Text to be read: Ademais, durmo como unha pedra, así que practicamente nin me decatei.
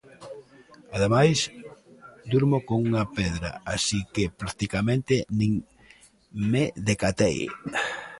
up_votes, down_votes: 1, 2